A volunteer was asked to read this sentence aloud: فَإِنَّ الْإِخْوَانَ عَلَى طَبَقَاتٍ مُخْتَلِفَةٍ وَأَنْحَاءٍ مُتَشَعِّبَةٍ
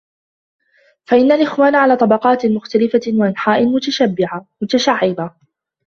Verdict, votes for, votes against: rejected, 1, 2